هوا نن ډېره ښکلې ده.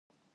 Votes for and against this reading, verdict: 0, 2, rejected